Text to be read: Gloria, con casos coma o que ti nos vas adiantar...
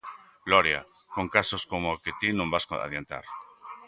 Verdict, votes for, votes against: rejected, 1, 4